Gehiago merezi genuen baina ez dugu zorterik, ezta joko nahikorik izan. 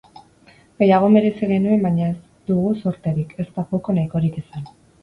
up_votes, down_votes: 0, 2